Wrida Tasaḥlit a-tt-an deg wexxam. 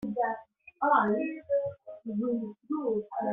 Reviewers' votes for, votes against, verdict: 0, 2, rejected